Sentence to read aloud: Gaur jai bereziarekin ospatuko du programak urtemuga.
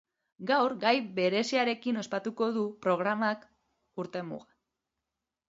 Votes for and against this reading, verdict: 0, 2, rejected